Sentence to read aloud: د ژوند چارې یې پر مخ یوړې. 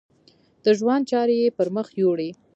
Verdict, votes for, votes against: rejected, 0, 2